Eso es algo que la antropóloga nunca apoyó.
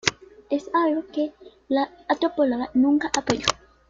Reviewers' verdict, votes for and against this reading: rejected, 0, 2